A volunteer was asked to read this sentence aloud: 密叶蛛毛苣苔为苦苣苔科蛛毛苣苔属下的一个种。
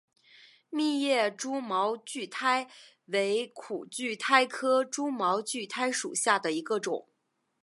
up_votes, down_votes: 2, 1